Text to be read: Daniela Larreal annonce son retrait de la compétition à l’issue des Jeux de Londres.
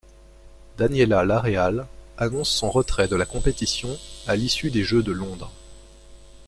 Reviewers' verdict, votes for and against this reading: rejected, 1, 2